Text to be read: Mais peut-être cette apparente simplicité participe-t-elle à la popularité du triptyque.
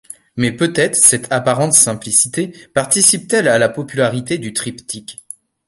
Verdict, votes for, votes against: accepted, 2, 0